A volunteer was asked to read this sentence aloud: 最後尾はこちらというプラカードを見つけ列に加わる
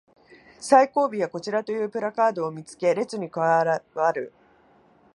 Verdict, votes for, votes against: rejected, 0, 2